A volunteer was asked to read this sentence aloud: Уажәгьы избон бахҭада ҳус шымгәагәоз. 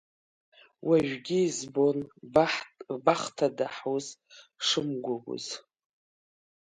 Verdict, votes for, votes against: rejected, 1, 3